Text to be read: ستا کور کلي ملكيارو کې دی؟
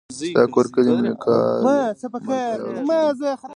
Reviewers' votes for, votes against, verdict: 1, 2, rejected